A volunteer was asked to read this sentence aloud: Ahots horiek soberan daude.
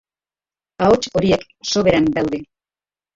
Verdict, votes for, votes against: rejected, 1, 2